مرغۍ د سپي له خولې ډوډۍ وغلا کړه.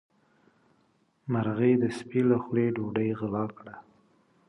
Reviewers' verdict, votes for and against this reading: accepted, 2, 0